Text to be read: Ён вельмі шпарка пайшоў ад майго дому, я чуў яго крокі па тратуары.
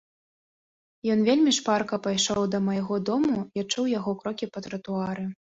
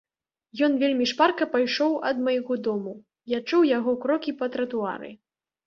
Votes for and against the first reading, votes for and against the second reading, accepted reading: 1, 2, 2, 0, second